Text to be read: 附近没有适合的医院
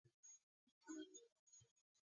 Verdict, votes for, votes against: rejected, 1, 7